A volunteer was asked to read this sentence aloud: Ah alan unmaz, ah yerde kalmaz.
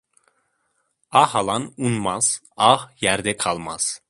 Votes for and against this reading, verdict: 2, 0, accepted